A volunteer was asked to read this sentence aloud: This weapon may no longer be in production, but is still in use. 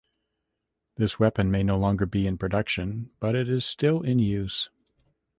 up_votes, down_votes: 0, 2